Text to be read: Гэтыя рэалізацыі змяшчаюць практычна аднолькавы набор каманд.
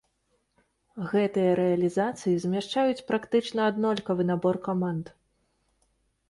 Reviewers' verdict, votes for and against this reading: accepted, 2, 0